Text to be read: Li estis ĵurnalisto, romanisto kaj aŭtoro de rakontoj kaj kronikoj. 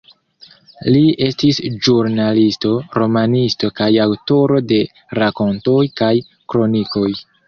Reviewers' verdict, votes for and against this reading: accepted, 2, 0